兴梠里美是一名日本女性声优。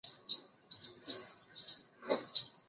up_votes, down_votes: 0, 4